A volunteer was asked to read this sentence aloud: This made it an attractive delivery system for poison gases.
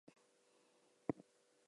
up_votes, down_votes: 0, 4